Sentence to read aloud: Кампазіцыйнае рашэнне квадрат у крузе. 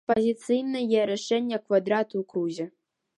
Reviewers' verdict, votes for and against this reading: rejected, 0, 2